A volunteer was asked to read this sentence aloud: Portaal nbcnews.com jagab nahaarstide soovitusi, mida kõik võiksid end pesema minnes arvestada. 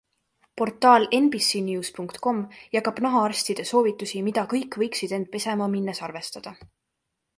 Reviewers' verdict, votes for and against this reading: accepted, 2, 0